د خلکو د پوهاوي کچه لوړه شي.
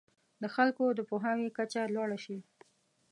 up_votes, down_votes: 2, 0